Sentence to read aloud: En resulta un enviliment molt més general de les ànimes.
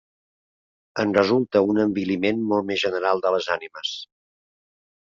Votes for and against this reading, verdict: 2, 0, accepted